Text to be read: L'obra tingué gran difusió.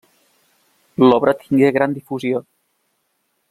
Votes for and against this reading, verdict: 3, 1, accepted